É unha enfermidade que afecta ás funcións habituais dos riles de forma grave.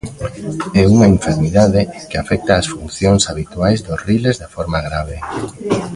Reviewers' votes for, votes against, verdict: 0, 2, rejected